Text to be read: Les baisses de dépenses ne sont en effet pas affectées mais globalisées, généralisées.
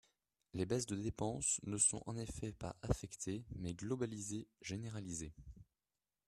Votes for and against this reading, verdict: 0, 2, rejected